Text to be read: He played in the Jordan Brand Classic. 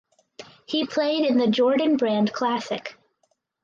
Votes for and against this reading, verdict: 4, 0, accepted